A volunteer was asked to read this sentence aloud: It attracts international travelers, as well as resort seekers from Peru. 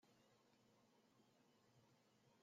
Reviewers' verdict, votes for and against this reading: rejected, 0, 2